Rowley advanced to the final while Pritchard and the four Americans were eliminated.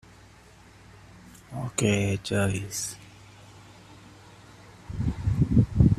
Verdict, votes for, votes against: rejected, 0, 2